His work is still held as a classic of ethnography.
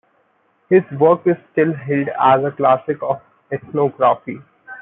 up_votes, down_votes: 2, 1